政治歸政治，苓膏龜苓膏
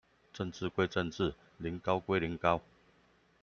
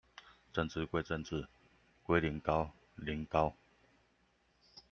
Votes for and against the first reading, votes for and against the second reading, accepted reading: 2, 0, 0, 2, first